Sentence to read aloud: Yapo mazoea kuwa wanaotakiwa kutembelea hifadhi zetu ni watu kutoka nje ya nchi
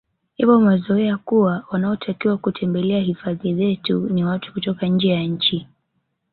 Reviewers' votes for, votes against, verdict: 2, 0, accepted